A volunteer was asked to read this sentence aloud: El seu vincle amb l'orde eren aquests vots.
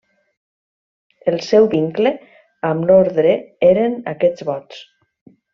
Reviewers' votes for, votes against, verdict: 2, 1, accepted